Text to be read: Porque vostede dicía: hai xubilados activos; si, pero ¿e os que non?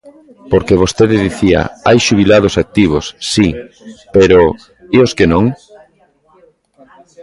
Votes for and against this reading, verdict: 2, 0, accepted